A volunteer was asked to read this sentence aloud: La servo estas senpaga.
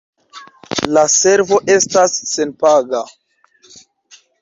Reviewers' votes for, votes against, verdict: 0, 2, rejected